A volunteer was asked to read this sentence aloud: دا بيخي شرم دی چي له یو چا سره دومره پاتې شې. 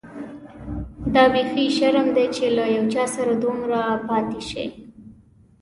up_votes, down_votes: 2, 0